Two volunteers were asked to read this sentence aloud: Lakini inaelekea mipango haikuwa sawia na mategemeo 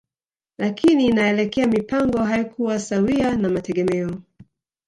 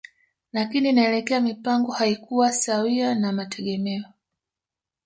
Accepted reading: second